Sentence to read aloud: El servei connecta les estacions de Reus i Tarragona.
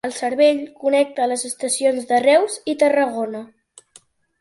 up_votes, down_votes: 2, 1